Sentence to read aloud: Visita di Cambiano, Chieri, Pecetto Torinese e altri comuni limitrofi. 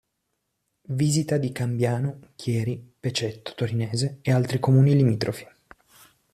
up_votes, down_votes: 2, 0